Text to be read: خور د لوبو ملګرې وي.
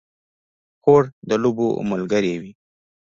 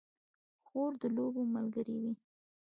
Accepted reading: first